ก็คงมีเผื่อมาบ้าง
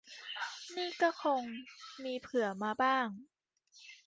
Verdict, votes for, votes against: rejected, 0, 2